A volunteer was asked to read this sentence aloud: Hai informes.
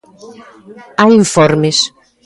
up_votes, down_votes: 0, 2